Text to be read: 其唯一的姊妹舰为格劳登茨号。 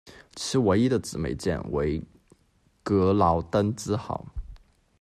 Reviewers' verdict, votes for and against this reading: rejected, 1, 2